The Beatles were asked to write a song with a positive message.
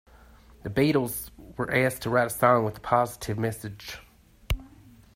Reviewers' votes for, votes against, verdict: 2, 0, accepted